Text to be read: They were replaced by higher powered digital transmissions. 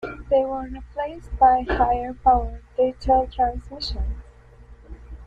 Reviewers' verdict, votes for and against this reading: rejected, 1, 2